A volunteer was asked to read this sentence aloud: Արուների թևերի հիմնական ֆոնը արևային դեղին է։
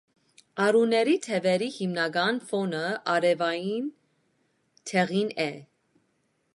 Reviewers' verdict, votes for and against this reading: accepted, 2, 0